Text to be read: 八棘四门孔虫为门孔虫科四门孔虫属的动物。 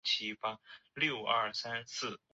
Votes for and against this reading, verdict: 2, 0, accepted